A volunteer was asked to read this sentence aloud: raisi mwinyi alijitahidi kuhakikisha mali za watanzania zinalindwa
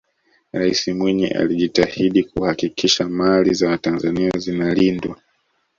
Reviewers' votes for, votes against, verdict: 0, 2, rejected